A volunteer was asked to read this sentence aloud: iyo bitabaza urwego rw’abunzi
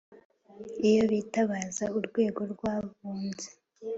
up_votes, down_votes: 2, 0